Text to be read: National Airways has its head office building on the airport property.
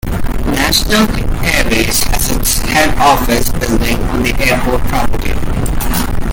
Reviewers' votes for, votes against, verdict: 1, 2, rejected